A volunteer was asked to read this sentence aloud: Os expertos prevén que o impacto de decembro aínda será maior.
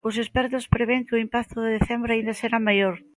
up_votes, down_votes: 2, 0